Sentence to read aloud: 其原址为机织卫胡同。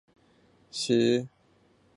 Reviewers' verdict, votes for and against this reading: rejected, 1, 2